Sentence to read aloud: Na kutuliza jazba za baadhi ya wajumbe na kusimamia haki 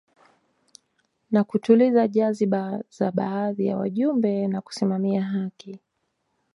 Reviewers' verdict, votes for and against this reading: accepted, 2, 0